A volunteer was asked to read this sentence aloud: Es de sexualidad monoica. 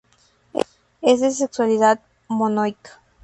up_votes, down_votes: 2, 0